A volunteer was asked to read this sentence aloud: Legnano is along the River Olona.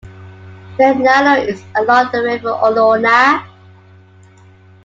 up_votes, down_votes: 2, 1